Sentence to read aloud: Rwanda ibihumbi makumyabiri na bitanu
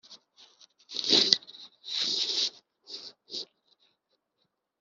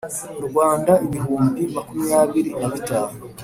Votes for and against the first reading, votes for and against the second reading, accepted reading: 1, 3, 2, 0, second